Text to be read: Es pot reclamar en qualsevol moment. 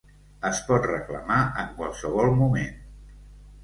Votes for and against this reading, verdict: 2, 0, accepted